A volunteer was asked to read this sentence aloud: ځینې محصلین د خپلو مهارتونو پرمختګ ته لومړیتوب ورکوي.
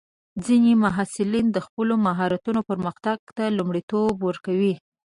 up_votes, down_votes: 2, 0